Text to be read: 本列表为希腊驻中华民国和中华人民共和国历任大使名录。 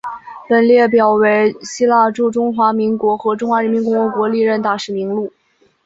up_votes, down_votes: 2, 0